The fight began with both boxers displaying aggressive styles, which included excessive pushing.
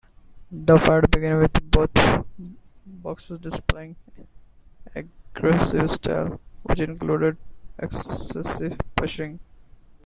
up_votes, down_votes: 0, 2